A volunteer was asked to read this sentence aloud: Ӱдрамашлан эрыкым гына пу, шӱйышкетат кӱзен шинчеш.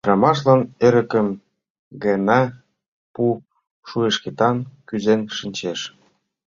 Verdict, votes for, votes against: rejected, 1, 2